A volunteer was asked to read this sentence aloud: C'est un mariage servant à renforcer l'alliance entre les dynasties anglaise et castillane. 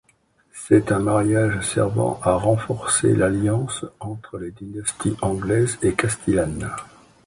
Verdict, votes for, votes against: accepted, 2, 0